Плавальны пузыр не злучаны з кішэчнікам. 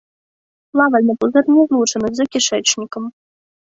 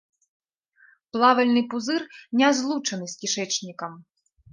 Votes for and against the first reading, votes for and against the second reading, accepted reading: 1, 2, 2, 1, second